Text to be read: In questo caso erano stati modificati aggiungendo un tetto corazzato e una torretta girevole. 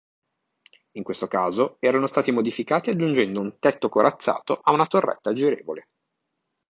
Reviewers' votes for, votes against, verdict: 0, 2, rejected